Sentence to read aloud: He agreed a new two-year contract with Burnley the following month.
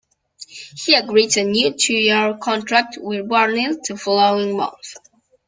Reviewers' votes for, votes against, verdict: 1, 2, rejected